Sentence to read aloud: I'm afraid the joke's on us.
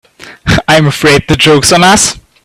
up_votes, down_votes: 2, 1